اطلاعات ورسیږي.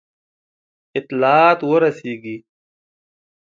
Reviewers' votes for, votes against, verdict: 2, 0, accepted